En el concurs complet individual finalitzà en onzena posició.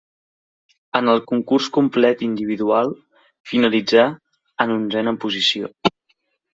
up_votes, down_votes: 2, 0